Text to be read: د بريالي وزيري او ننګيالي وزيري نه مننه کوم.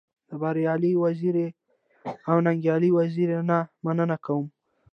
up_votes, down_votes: 2, 0